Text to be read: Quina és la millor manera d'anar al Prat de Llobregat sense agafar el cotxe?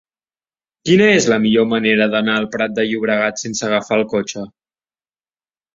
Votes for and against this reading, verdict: 2, 0, accepted